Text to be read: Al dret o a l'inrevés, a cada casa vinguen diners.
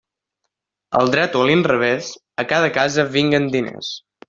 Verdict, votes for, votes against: accepted, 2, 1